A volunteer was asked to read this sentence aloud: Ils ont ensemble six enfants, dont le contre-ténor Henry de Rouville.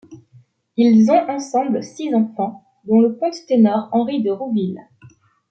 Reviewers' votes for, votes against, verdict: 2, 1, accepted